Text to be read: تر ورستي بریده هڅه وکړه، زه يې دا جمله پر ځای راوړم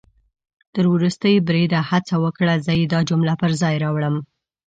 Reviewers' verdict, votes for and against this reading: accepted, 2, 0